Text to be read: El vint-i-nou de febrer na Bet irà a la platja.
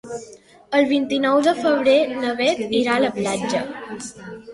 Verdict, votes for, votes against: accepted, 3, 0